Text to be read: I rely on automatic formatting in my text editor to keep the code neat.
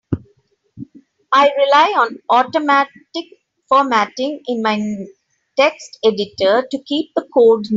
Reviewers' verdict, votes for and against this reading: rejected, 0, 2